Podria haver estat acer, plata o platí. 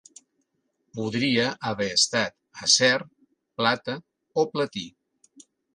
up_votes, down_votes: 3, 0